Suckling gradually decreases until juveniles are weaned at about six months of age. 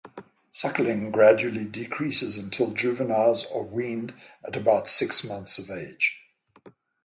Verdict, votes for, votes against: accepted, 6, 0